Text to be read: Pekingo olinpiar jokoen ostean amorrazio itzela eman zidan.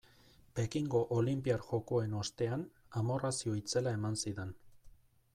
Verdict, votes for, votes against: accepted, 2, 0